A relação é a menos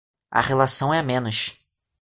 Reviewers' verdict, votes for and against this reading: accepted, 2, 0